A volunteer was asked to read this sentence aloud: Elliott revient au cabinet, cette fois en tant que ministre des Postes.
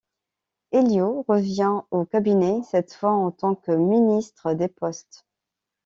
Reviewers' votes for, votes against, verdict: 1, 2, rejected